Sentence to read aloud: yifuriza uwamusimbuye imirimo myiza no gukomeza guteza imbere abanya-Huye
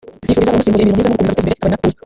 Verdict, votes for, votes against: rejected, 0, 2